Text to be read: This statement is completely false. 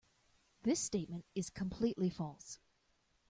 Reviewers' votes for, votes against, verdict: 2, 0, accepted